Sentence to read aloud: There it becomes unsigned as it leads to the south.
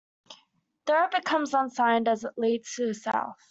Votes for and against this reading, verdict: 2, 0, accepted